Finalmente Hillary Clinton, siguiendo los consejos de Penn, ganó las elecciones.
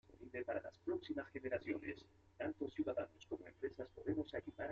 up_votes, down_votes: 0, 2